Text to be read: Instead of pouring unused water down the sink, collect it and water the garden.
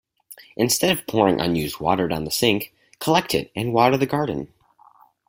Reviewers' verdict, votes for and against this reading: accepted, 4, 0